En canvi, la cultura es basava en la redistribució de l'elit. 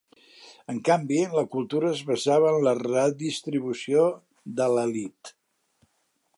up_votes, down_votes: 3, 0